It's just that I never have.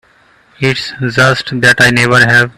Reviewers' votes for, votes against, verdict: 0, 2, rejected